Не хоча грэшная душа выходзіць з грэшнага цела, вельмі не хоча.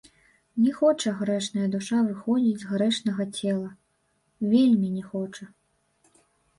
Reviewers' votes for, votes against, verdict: 1, 2, rejected